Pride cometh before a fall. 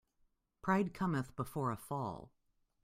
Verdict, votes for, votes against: accepted, 2, 0